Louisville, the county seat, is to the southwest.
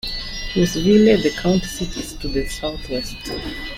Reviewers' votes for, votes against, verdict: 2, 0, accepted